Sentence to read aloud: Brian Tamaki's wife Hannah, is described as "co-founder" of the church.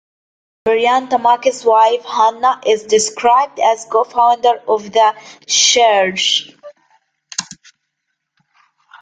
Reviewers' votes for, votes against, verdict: 2, 0, accepted